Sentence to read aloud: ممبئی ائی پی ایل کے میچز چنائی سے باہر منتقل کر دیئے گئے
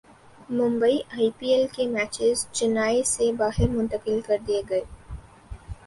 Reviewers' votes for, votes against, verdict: 3, 0, accepted